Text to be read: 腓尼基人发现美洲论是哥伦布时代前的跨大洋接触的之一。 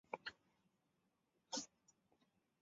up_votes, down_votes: 0, 2